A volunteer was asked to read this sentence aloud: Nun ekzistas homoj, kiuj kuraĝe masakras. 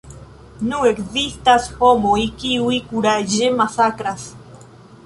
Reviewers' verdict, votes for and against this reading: accepted, 2, 0